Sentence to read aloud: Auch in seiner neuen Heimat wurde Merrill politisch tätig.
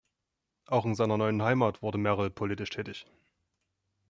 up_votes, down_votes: 2, 0